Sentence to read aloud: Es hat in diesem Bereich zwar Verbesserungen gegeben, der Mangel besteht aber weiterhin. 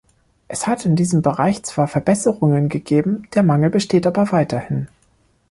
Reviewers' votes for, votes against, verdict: 2, 0, accepted